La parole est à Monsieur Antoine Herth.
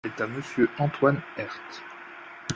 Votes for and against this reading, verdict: 0, 2, rejected